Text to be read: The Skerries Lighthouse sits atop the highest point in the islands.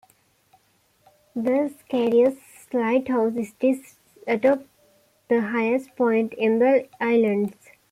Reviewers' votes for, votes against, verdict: 2, 1, accepted